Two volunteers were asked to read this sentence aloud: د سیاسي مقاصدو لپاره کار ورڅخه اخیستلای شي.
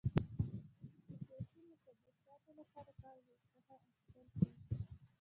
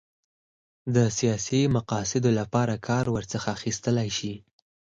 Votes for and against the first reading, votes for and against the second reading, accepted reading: 0, 2, 6, 0, second